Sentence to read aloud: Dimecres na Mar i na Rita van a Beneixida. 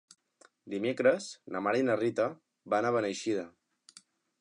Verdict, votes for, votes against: accepted, 2, 0